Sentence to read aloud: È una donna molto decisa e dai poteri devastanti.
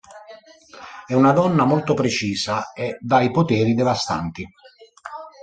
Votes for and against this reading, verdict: 0, 2, rejected